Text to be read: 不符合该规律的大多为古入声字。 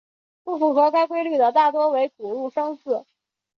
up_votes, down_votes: 3, 0